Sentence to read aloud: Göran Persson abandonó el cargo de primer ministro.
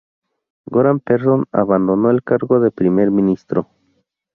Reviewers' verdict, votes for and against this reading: rejected, 2, 4